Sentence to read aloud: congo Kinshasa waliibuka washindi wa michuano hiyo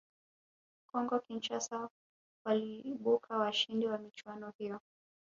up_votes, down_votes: 2, 3